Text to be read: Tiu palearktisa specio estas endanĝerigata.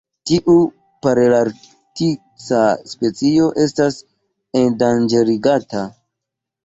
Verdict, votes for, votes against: rejected, 1, 2